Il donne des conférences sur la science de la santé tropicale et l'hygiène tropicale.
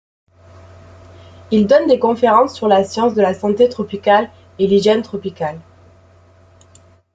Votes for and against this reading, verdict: 2, 1, accepted